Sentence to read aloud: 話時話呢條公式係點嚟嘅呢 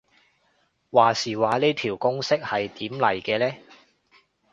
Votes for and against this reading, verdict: 2, 0, accepted